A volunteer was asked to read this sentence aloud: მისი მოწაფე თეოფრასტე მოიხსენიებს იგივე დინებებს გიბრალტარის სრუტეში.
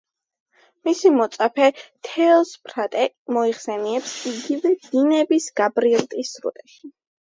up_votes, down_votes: 0, 2